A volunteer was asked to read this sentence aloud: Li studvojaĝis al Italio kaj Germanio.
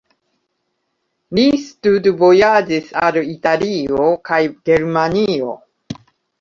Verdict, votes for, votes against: accepted, 2, 1